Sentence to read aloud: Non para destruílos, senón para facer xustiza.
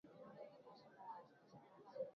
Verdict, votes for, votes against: rejected, 0, 2